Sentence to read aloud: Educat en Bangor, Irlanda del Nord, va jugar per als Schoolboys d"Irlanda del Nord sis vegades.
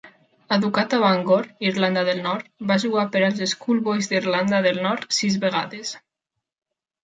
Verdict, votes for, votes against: rejected, 0, 2